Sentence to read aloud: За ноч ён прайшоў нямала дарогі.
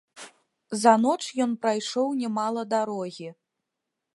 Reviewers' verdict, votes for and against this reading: accepted, 2, 0